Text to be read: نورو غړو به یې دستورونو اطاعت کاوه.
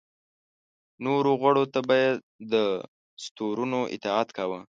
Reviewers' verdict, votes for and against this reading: rejected, 0, 2